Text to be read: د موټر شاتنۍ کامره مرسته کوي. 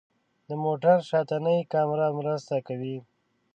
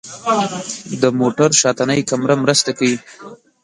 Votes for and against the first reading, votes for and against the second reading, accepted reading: 2, 0, 0, 2, first